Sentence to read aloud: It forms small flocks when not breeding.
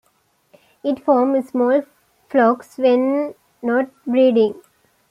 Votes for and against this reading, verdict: 2, 0, accepted